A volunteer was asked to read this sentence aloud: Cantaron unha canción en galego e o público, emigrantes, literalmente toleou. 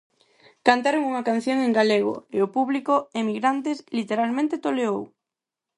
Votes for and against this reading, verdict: 4, 0, accepted